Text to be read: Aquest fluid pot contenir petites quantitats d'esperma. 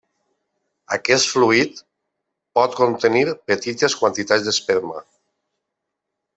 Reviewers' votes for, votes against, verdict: 1, 2, rejected